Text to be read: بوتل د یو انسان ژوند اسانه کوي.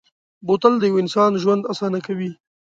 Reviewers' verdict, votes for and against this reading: accepted, 2, 0